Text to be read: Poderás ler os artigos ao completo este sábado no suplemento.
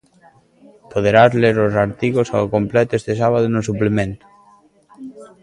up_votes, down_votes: 2, 1